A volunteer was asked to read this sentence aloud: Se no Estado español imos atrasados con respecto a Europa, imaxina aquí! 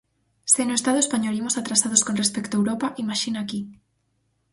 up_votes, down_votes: 4, 0